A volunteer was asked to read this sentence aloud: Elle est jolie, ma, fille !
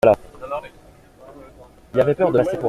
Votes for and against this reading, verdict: 0, 2, rejected